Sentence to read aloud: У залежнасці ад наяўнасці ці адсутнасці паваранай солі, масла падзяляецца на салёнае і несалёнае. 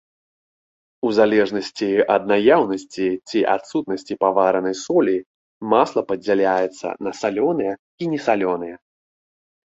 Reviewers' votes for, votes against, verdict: 2, 0, accepted